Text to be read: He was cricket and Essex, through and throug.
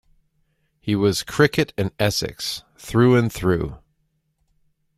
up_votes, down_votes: 1, 2